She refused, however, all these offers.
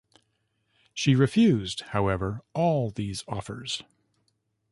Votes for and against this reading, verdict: 1, 2, rejected